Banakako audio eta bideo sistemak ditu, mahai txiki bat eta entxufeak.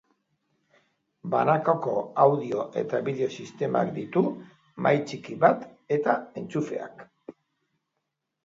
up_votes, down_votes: 2, 0